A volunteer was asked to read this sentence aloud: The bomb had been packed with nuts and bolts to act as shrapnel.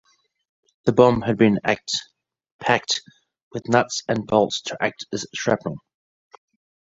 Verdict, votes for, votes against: rejected, 0, 2